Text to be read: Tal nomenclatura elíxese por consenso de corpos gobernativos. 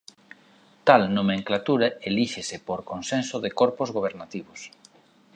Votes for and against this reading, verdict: 2, 0, accepted